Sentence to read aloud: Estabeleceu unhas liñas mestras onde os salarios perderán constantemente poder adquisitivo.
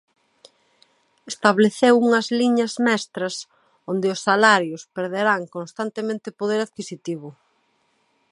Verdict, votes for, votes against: rejected, 0, 2